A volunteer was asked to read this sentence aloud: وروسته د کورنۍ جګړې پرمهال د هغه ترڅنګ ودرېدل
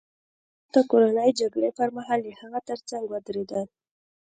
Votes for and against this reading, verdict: 2, 0, accepted